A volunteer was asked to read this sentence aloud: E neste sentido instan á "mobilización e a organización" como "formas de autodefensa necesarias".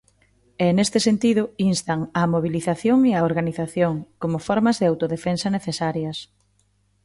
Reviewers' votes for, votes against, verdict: 2, 0, accepted